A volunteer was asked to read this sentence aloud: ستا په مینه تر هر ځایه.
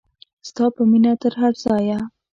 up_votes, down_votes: 2, 0